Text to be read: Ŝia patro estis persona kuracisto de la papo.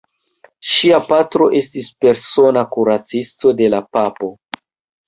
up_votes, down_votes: 1, 2